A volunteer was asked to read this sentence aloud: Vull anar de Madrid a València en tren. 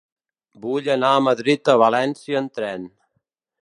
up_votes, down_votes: 0, 2